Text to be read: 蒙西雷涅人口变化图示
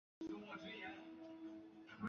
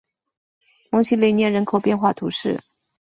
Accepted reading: second